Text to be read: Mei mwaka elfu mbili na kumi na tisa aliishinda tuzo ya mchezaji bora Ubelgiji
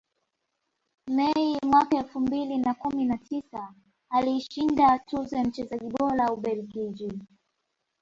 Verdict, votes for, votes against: accepted, 2, 1